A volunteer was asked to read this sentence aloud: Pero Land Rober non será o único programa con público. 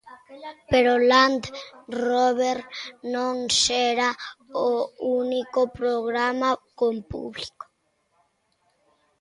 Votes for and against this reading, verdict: 0, 2, rejected